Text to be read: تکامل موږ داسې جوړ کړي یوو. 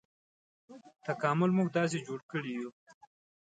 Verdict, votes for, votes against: accepted, 2, 0